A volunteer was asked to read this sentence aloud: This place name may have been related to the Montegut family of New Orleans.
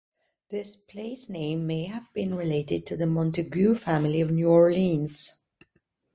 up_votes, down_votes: 2, 0